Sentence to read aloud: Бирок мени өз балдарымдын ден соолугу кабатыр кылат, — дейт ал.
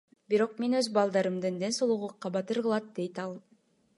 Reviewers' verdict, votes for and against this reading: accepted, 2, 0